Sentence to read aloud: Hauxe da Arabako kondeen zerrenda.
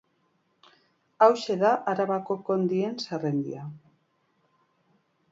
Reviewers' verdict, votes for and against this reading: accepted, 2, 1